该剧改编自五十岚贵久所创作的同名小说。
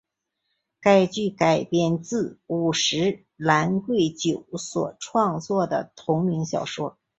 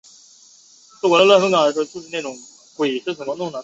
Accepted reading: first